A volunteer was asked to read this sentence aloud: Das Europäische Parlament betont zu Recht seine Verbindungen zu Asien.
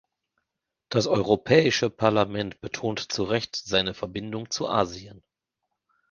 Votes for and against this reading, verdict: 1, 3, rejected